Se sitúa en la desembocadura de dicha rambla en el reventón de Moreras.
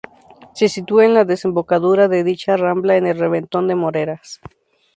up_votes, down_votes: 2, 0